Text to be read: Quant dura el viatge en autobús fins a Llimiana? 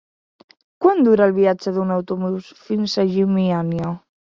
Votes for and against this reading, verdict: 0, 4, rejected